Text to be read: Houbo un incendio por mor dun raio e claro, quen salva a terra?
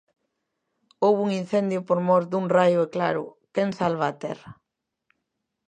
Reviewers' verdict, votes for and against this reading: accepted, 2, 0